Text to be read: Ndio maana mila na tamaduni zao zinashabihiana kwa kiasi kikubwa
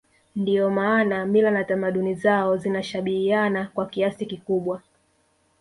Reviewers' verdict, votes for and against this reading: rejected, 1, 2